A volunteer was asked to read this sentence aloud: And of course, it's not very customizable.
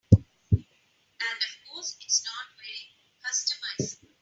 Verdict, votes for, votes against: rejected, 0, 3